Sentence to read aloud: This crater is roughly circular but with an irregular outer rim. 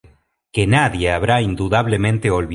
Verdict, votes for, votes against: rejected, 0, 2